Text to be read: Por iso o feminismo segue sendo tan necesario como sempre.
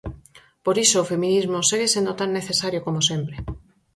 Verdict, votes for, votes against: accepted, 4, 0